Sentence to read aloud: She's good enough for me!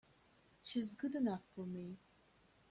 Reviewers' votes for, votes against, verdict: 2, 0, accepted